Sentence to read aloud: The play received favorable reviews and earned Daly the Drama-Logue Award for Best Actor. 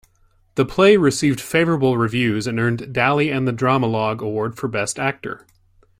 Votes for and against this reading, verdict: 1, 2, rejected